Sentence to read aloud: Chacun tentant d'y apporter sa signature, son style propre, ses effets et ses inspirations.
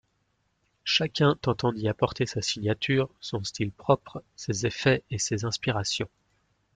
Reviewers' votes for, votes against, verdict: 2, 0, accepted